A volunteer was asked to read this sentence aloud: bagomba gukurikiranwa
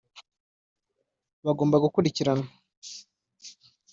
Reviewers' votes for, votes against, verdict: 1, 2, rejected